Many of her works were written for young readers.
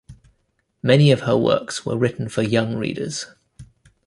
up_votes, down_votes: 2, 0